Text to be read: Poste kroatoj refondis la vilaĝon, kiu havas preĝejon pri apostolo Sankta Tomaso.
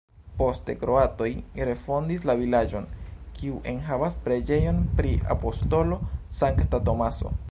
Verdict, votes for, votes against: rejected, 0, 2